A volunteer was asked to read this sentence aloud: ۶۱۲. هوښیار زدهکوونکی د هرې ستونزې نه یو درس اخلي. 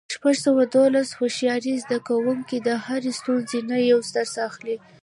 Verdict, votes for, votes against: rejected, 0, 2